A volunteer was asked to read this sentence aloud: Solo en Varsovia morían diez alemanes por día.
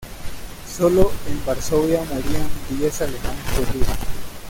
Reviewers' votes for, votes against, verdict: 2, 1, accepted